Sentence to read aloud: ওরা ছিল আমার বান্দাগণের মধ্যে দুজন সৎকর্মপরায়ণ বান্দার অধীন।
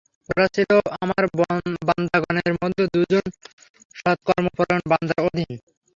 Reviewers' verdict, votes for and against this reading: accepted, 3, 0